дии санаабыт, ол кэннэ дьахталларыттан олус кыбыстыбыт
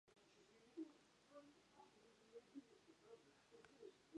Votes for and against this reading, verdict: 0, 2, rejected